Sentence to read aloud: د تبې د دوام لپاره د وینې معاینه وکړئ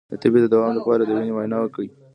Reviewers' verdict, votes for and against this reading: rejected, 0, 2